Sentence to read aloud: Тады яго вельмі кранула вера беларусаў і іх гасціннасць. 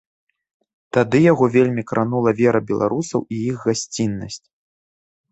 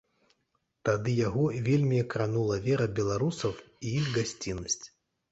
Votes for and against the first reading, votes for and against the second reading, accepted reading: 2, 0, 1, 2, first